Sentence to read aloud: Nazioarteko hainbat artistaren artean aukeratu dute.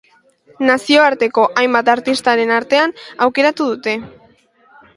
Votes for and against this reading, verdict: 3, 0, accepted